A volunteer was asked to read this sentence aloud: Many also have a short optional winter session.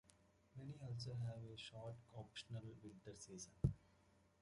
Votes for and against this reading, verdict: 0, 2, rejected